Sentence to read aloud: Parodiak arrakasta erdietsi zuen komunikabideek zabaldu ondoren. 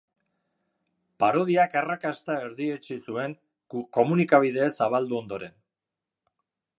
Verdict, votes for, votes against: rejected, 1, 2